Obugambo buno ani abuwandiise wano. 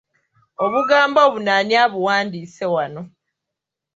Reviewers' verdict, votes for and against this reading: accepted, 2, 0